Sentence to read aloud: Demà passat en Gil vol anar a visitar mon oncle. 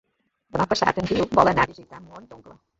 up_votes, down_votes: 1, 4